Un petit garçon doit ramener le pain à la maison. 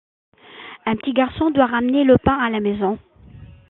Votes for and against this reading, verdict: 2, 0, accepted